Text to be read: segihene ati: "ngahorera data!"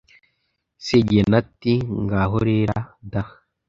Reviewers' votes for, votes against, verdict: 1, 2, rejected